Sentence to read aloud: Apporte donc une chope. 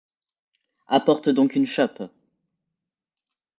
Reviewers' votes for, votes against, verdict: 2, 0, accepted